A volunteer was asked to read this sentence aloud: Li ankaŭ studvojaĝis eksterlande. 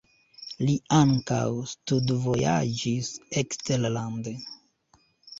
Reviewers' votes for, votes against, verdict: 2, 0, accepted